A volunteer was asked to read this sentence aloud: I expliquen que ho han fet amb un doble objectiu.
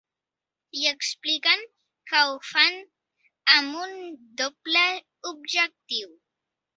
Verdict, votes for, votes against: rejected, 1, 2